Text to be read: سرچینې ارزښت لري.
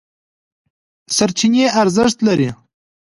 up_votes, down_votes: 2, 0